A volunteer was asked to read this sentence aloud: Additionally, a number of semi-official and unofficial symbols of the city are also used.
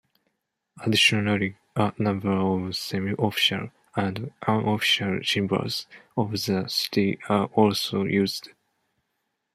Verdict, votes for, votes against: accepted, 2, 0